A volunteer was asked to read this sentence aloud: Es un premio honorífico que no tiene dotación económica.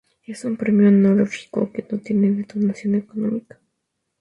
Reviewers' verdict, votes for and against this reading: accepted, 2, 0